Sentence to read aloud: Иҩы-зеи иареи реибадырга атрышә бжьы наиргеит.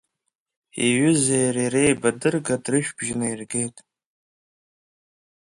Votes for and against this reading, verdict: 2, 0, accepted